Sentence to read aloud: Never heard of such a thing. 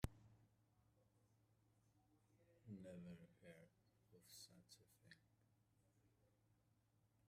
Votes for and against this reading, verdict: 0, 2, rejected